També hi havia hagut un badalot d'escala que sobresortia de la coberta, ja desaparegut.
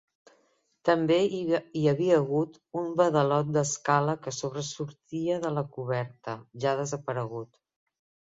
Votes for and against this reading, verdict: 0, 2, rejected